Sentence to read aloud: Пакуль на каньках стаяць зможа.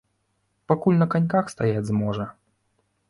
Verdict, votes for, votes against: accepted, 2, 0